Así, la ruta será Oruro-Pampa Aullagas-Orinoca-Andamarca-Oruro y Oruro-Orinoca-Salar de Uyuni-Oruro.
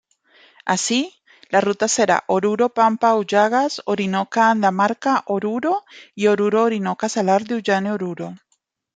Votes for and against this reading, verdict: 0, 2, rejected